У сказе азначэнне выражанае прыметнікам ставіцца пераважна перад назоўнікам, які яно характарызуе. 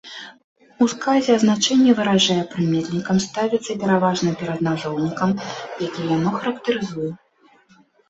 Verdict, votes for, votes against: rejected, 0, 2